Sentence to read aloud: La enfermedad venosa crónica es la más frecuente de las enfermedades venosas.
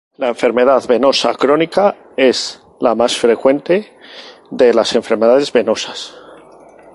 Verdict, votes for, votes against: accepted, 2, 0